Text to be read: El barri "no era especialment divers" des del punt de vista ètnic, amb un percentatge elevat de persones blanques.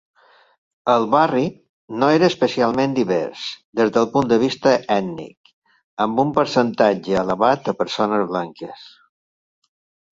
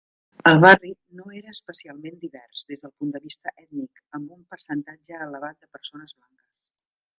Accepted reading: first